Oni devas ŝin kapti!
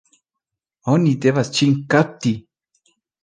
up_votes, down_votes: 2, 0